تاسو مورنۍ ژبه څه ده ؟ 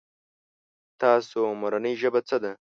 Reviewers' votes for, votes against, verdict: 2, 0, accepted